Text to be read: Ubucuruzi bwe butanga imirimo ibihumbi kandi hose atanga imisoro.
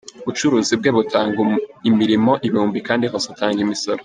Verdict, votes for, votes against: rejected, 1, 2